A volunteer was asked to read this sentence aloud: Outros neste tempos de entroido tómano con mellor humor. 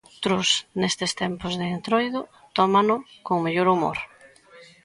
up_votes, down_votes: 0, 2